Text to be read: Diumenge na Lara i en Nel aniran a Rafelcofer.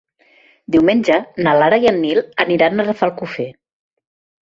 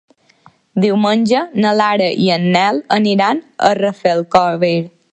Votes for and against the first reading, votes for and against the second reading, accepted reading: 2, 1, 0, 2, first